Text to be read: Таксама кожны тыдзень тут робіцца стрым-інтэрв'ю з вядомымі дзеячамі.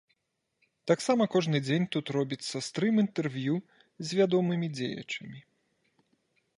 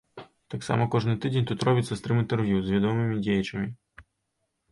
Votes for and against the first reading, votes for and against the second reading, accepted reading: 0, 2, 2, 0, second